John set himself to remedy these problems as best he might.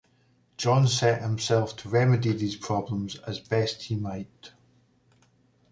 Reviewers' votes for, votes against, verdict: 2, 0, accepted